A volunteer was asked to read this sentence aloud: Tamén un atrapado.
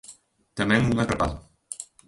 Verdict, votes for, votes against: accepted, 2, 0